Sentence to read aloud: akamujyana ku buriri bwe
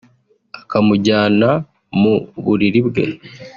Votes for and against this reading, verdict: 1, 2, rejected